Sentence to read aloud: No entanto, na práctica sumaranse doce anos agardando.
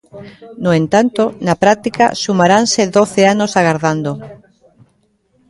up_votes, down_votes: 1, 2